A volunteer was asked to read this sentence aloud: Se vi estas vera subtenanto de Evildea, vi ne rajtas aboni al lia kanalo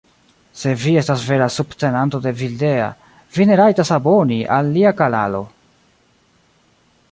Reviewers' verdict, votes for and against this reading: rejected, 1, 2